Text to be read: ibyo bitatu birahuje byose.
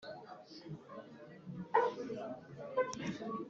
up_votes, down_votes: 1, 3